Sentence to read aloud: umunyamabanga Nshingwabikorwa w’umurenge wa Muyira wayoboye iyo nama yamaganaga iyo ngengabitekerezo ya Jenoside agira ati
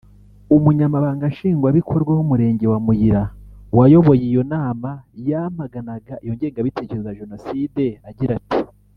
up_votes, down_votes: 1, 2